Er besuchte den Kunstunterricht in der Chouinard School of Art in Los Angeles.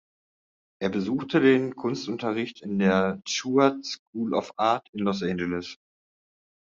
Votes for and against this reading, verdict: 0, 2, rejected